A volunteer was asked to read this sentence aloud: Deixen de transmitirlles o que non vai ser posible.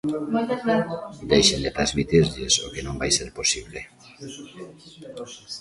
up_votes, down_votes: 0, 2